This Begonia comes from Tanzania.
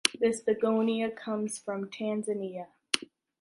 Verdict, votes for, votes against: accepted, 2, 0